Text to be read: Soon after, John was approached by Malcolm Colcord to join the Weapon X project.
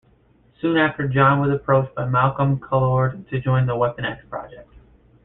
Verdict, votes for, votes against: rejected, 1, 2